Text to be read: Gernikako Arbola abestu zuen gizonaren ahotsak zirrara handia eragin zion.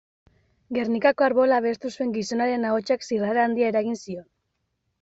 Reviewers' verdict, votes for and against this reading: accepted, 2, 0